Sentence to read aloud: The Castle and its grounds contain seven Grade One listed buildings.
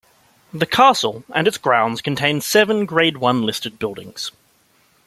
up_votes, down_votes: 2, 0